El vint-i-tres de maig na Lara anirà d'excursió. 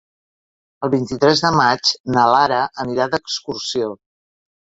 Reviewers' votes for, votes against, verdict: 3, 0, accepted